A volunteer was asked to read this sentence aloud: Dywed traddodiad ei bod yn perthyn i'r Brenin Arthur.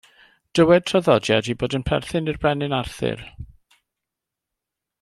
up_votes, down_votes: 2, 1